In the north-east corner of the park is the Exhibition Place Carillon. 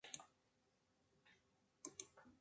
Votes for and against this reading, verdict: 0, 2, rejected